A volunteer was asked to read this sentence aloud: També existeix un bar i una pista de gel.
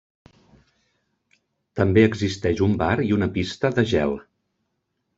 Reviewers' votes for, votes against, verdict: 3, 0, accepted